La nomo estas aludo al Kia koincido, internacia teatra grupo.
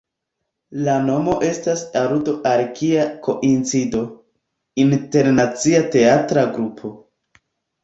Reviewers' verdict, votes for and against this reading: rejected, 1, 2